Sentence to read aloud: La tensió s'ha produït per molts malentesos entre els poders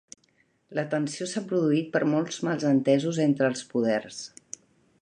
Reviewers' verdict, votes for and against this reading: rejected, 1, 2